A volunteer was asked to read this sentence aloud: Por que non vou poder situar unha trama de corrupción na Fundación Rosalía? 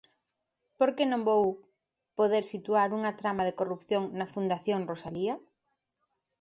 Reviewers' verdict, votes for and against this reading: accepted, 2, 0